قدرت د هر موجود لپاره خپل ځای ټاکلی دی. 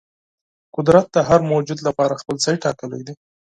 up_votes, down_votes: 6, 0